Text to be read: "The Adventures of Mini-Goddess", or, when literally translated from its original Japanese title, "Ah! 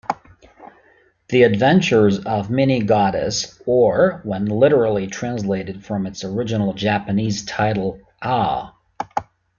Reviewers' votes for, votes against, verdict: 3, 1, accepted